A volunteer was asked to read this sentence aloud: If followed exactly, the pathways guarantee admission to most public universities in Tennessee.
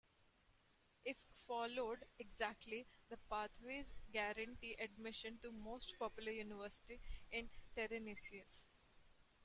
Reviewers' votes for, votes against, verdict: 2, 1, accepted